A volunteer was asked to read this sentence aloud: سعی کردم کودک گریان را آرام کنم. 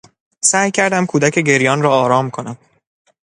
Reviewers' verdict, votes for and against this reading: accepted, 2, 0